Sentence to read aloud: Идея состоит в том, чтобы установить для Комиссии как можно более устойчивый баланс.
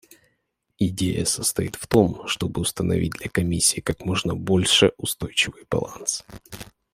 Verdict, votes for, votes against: rejected, 0, 2